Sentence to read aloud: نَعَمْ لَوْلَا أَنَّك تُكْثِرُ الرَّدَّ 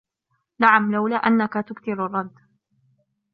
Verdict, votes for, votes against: accepted, 2, 0